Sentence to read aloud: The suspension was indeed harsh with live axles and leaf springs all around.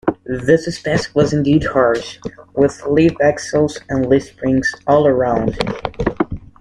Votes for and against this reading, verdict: 0, 2, rejected